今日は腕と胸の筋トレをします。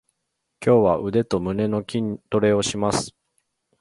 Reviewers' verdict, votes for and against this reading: accepted, 2, 1